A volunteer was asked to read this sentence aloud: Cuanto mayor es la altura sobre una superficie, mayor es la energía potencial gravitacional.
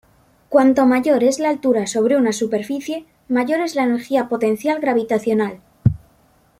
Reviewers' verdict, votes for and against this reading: accepted, 2, 0